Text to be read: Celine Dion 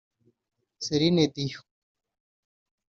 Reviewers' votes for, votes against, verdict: 2, 0, accepted